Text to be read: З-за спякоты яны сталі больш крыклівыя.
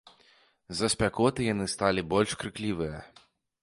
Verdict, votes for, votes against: accepted, 2, 0